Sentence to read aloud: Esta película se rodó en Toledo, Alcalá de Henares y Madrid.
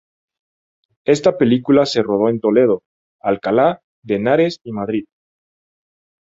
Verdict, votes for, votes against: rejected, 2, 2